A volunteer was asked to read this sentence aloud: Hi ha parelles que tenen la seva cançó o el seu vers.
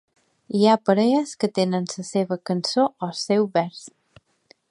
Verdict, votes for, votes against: rejected, 0, 2